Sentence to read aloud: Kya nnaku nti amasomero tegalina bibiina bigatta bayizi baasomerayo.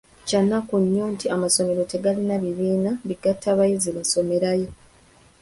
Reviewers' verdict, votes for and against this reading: rejected, 0, 2